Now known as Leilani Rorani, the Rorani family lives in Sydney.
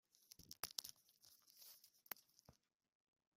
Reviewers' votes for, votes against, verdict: 0, 2, rejected